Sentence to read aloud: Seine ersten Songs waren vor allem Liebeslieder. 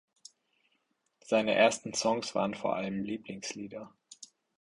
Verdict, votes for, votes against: rejected, 0, 4